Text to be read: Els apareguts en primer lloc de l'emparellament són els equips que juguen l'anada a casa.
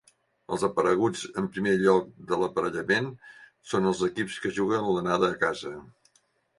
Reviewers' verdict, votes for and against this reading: rejected, 1, 2